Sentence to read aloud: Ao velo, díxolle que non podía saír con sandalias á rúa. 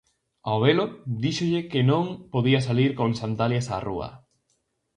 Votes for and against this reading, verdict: 2, 2, rejected